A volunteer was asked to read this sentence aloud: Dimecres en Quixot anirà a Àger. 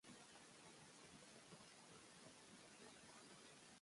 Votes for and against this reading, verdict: 0, 2, rejected